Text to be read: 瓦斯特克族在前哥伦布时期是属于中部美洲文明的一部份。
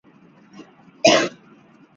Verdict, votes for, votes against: rejected, 0, 2